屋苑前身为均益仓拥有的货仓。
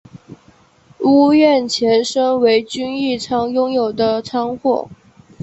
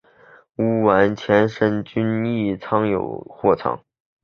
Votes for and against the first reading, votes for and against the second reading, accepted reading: 1, 2, 2, 0, second